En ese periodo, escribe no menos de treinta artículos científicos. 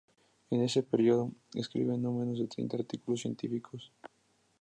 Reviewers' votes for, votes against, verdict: 4, 0, accepted